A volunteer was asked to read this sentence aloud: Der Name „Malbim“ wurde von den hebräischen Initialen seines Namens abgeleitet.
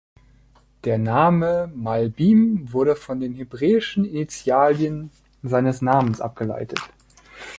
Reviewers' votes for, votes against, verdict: 0, 2, rejected